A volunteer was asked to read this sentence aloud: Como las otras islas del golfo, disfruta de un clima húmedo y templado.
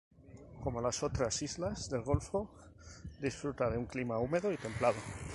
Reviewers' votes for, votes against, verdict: 2, 0, accepted